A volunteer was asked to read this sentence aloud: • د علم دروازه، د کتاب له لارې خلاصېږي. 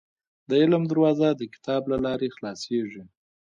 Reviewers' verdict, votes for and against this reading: rejected, 1, 2